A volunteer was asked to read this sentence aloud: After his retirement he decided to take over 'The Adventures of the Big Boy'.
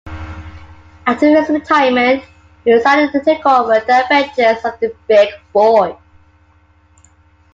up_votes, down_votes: 0, 2